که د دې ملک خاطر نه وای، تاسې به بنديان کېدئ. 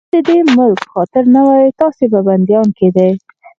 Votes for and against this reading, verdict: 0, 4, rejected